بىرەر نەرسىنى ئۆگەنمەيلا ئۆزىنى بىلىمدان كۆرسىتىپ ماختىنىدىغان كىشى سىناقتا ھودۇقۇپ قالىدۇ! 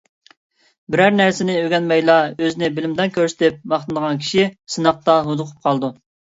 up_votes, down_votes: 2, 0